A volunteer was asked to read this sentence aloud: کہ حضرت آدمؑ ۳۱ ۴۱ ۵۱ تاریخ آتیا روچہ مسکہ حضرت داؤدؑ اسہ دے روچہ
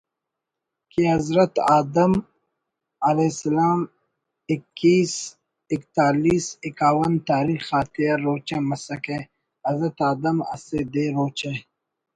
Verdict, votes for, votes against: rejected, 0, 2